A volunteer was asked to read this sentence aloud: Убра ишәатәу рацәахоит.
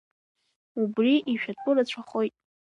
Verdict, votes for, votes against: accepted, 2, 1